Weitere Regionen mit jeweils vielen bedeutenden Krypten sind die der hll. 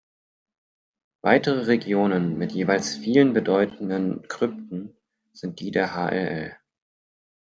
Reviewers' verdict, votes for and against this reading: accepted, 6, 0